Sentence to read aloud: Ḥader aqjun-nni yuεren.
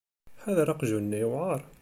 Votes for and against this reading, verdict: 1, 2, rejected